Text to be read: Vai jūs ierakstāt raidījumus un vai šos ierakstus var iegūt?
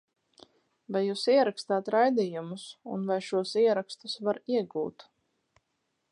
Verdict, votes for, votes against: accepted, 4, 0